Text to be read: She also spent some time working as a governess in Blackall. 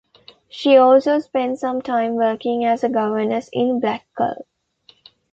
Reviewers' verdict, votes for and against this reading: accepted, 2, 0